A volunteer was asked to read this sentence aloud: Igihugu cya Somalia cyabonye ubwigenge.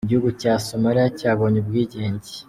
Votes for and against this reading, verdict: 2, 0, accepted